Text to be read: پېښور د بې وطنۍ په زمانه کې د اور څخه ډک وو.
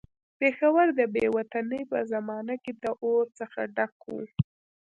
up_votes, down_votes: 0, 2